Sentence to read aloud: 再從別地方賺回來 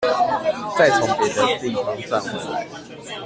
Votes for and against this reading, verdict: 2, 1, accepted